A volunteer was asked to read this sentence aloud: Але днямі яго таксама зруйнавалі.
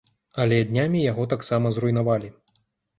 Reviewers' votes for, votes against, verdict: 3, 0, accepted